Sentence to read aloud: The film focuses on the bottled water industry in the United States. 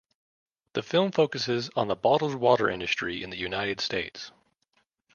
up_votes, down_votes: 2, 0